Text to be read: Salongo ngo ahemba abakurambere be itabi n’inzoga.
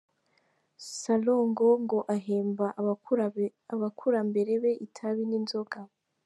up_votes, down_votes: 0, 2